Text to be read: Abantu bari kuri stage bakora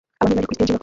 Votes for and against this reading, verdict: 0, 2, rejected